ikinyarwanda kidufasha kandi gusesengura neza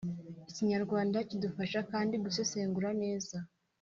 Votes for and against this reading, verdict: 2, 0, accepted